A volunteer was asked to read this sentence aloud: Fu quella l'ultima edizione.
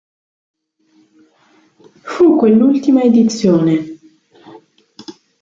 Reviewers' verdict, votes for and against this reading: rejected, 0, 2